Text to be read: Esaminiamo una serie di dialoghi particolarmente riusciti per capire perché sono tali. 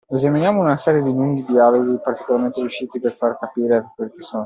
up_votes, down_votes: 0, 2